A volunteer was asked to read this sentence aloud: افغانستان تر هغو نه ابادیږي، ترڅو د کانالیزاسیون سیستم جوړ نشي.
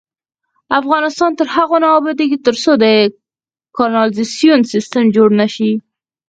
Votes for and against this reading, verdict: 0, 4, rejected